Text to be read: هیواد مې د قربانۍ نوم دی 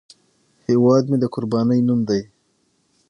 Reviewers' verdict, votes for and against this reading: rejected, 0, 6